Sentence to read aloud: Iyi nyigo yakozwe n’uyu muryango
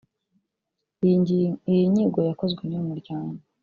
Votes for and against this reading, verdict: 1, 2, rejected